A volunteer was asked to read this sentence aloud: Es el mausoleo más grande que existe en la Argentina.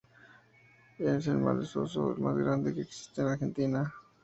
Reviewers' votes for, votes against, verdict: 2, 2, rejected